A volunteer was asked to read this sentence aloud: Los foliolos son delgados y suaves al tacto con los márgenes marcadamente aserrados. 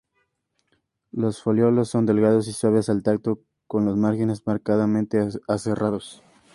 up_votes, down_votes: 2, 0